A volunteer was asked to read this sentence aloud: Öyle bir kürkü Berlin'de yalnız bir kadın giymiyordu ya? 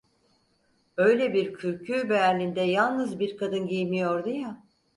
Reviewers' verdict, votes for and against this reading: accepted, 4, 0